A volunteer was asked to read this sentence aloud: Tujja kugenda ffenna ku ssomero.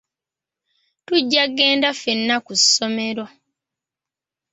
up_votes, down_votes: 1, 2